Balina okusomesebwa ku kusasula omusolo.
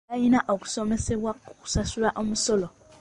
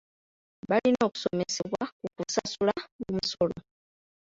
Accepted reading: first